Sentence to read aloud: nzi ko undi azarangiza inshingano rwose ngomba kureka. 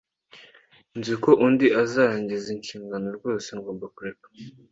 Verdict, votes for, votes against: accepted, 2, 0